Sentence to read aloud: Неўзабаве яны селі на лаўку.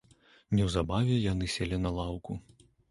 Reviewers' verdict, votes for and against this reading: accepted, 2, 0